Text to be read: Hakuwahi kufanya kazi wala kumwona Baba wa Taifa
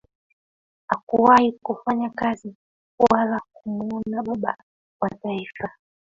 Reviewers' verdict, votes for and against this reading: rejected, 0, 2